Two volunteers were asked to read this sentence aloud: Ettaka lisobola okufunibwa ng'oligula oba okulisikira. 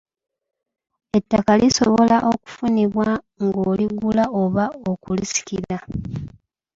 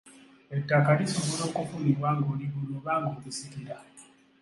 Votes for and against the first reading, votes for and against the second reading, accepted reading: 1, 2, 2, 1, second